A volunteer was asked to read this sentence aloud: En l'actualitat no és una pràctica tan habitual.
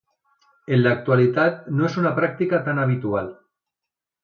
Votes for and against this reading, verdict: 2, 0, accepted